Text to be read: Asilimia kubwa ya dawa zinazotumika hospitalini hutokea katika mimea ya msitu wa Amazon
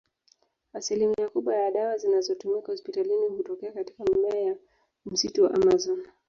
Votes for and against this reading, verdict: 0, 2, rejected